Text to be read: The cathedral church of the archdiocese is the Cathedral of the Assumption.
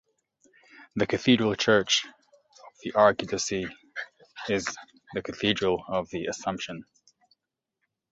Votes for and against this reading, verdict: 0, 2, rejected